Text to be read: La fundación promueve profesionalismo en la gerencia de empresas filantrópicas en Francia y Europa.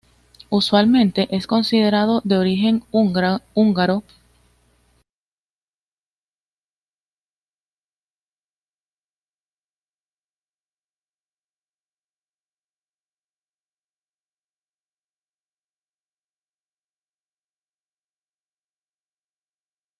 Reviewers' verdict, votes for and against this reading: rejected, 0, 2